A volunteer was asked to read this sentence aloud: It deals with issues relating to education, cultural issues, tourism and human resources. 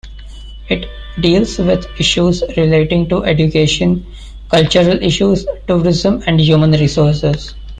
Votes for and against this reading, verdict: 2, 0, accepted